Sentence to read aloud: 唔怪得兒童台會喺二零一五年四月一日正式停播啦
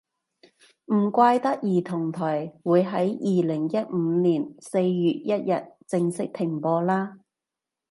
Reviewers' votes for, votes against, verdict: 2, 0, accepted